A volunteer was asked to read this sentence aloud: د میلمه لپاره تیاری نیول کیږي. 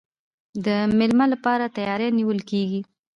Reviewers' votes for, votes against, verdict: 2, 0, accepted